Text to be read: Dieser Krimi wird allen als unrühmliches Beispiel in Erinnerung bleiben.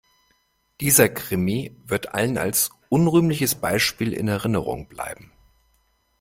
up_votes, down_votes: 2, 0